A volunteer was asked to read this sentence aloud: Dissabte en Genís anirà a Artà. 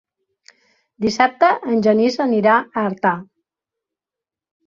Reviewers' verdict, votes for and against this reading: accepted, 4, 0